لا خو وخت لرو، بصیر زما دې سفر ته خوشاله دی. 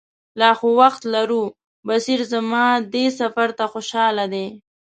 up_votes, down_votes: 2, 0